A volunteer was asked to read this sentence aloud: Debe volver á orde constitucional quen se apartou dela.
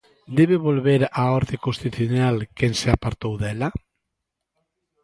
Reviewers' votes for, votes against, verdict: 0, 2, rejected